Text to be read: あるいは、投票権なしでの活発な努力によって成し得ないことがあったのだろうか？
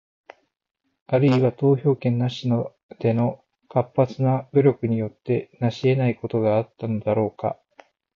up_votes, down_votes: 0, 4